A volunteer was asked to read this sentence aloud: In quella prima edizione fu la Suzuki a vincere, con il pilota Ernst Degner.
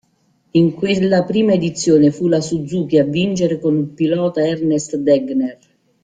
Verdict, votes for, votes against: rejected, 0, 2